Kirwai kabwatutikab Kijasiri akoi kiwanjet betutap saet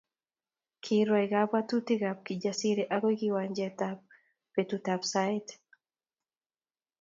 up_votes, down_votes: 2, 0